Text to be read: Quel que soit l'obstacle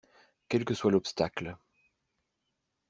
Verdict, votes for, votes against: accepted, 2, 0